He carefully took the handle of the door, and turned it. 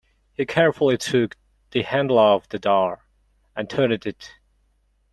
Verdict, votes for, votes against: accepted, 2, 0